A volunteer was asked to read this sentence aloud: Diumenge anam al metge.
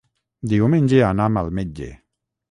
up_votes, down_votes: 6, 0